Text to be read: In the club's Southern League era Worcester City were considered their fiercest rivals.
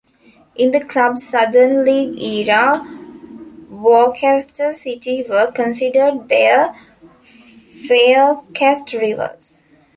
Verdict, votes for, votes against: rejected, 1, 2